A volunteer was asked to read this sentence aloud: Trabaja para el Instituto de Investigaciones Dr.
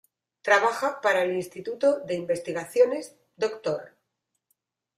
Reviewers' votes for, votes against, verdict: 2, 1, accepted